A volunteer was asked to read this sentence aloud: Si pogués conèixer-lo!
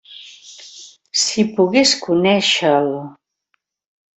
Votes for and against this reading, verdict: 0, 2, rejected